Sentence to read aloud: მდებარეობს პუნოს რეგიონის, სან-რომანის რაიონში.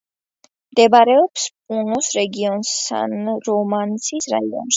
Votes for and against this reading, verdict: 1, 2, rejected